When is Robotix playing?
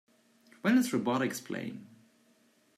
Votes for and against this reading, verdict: 2, 0, accepted